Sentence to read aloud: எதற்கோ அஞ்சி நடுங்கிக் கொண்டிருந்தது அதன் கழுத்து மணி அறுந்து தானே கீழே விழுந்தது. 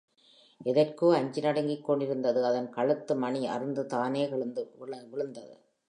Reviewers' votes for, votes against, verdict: 1, 2, rejected